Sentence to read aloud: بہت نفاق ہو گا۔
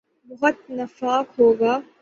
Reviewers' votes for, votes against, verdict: 12, 0, accepted